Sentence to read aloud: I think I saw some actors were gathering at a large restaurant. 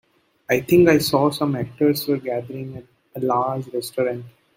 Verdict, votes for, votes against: accepted, 2, 1